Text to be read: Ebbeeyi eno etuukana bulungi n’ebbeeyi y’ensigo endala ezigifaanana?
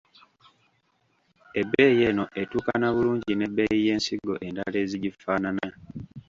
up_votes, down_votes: 1, 2